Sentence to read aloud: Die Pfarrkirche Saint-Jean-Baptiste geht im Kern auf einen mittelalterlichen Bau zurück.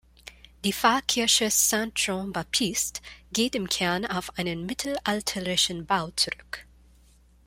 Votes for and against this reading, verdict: 2, 1, accepted